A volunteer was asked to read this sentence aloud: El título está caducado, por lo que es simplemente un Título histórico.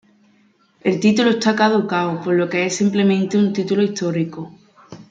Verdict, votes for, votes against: accepted, 2, 0